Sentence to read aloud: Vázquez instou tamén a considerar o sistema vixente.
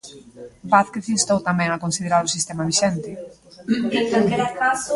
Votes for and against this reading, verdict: 0, 2, rejected